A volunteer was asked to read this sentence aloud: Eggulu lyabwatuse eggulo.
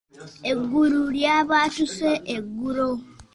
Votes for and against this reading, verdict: 2, 0, accepted